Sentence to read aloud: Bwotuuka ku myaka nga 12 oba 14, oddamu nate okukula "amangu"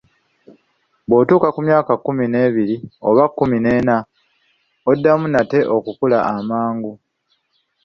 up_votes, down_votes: 0, 2